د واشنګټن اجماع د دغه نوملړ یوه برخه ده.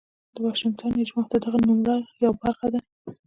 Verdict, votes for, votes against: accepted, 2, 1